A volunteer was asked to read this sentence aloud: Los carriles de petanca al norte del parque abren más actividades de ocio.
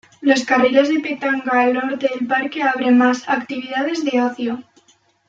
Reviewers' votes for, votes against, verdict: 0, 2, rejected